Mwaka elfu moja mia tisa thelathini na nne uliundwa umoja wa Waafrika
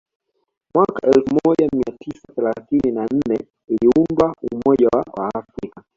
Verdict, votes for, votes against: accepted, 2, 0